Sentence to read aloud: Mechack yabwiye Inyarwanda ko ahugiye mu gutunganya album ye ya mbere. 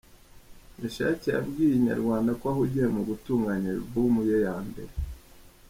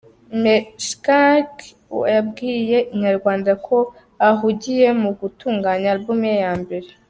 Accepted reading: first